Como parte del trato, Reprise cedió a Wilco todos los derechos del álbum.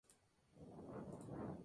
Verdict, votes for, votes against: rejected, 0, 4